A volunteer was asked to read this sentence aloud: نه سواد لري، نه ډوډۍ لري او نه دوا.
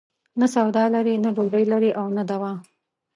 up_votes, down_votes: 1, 2